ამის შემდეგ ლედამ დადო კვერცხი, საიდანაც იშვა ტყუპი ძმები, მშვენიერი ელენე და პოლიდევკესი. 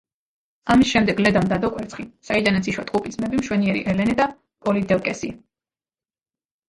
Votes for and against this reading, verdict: 2, 1, accepted